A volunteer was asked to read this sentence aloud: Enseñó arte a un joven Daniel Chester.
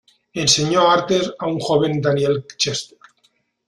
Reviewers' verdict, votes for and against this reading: rejected, 0, 2